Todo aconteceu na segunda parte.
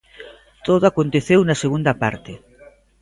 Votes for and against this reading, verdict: 2, 0, accepted